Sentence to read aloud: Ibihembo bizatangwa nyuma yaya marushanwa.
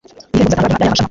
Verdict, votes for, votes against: rejected, 0, 2